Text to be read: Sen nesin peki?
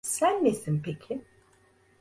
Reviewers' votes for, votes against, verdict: 2, 0, accepted